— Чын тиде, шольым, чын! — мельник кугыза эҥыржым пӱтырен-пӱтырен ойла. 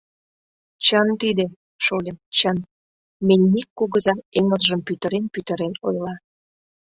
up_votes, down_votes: 2, 1